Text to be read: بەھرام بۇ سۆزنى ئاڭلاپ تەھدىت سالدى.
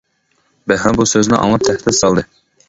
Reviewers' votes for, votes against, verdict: 1, 2, rejected